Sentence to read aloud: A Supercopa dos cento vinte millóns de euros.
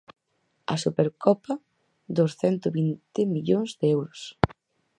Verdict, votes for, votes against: accepted, 4, 0